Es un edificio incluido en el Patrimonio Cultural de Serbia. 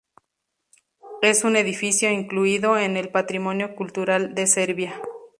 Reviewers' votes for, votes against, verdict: 4, 0, accepted